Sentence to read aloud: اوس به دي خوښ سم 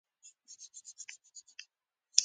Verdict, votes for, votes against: rejected, 0, 2